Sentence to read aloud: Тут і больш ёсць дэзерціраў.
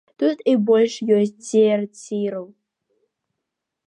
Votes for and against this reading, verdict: 0, 2, rejected